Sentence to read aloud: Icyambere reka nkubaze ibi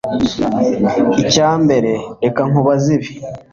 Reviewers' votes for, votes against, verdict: 2, 0, accepted